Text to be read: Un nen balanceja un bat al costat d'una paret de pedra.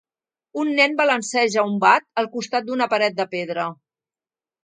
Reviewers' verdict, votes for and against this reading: accepted, 2, 0